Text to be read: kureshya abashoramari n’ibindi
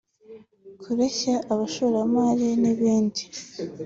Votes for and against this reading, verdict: 2, 0, accepted